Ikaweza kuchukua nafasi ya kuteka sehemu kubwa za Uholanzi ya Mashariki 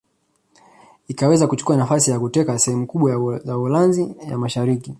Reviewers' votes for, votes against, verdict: 2, 1, accepted